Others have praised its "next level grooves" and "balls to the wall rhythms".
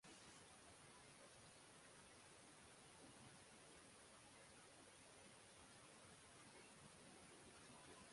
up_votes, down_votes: 0, 6